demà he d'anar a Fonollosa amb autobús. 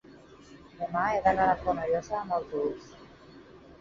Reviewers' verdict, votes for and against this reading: rejected, 0, 4